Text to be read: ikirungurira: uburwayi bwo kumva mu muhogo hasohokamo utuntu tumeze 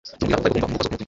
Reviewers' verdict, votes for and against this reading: rejected, 0, 2